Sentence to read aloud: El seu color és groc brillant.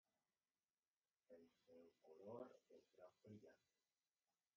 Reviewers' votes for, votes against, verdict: 0, 2, rejected